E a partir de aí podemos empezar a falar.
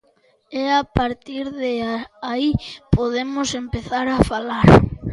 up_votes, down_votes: 1, 2